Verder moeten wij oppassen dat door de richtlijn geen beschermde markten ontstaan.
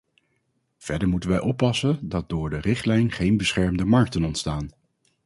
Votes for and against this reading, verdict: 2, 0, accepted